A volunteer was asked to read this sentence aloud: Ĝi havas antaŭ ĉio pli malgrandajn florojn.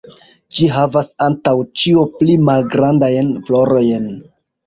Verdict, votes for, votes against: rejected, 1, 2